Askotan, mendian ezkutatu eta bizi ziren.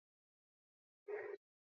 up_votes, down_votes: 0, 4